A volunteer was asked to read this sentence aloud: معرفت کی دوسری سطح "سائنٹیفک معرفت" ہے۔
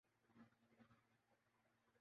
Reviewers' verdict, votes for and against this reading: rejected, 0, 3